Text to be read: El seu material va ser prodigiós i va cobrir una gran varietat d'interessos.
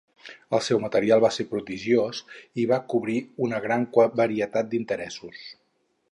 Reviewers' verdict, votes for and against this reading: rejected, 2, 4